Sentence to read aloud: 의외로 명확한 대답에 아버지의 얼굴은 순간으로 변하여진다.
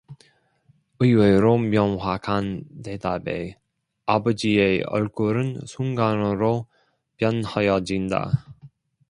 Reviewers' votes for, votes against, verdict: 2, 0, accepted